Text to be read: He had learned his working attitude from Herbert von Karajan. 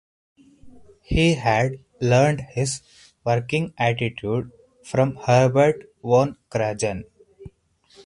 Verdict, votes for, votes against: accepted, 4, 0